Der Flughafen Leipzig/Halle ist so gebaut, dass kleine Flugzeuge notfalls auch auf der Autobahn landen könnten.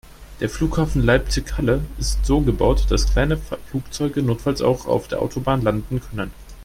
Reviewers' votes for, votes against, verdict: 1, 2, rejected